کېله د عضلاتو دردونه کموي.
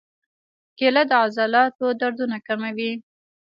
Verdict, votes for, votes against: accepted, 2, 0